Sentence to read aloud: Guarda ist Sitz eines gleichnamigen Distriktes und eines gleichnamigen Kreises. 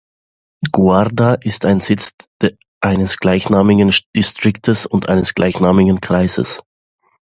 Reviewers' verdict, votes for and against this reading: rejected, 0, 2